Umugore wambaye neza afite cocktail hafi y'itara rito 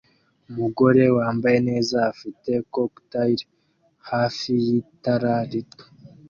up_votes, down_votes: 2, 0